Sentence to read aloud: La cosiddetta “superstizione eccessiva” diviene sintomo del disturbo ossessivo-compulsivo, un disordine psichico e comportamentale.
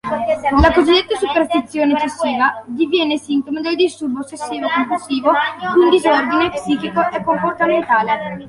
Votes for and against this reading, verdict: 0, 2, rejected